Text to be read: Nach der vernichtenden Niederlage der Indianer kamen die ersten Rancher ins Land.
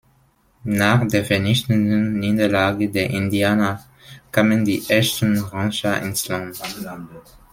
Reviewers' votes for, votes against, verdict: 0, 2, rejected